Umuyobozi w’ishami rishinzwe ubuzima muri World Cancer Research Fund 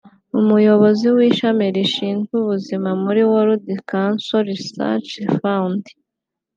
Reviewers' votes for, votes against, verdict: 2, 0, accepted